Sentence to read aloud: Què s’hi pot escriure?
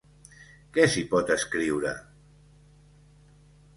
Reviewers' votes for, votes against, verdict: 2, 0, accepted